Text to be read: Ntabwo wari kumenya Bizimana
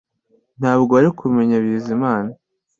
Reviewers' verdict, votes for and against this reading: accepted, 2, 0